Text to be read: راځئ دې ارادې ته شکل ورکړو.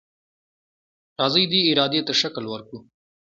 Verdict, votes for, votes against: accepted, 2, 0